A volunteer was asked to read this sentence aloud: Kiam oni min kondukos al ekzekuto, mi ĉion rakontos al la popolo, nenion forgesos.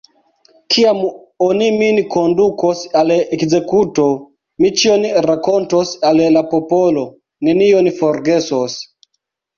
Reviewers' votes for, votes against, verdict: 1, 2, rejected